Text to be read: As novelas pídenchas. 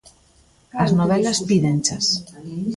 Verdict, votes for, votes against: accepted, 2, 0